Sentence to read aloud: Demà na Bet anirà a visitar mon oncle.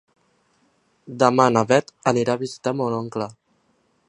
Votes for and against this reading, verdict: 2, 0, accepted